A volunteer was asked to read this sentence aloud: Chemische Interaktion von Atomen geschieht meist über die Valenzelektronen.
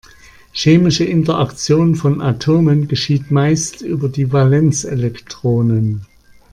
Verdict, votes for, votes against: accepted, 2, 0